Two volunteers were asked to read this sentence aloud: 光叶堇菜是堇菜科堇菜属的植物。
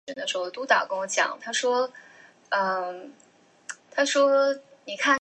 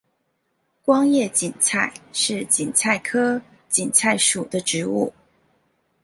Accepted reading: second